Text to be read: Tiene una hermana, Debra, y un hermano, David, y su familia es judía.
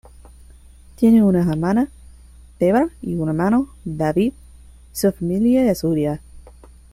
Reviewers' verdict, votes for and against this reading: rejected, 1, 2